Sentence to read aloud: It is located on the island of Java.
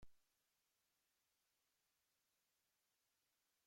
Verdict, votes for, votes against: rejected, 0, 2